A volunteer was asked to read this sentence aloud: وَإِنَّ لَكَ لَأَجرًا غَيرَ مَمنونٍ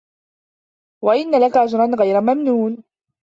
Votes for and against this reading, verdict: 2, 0, accepted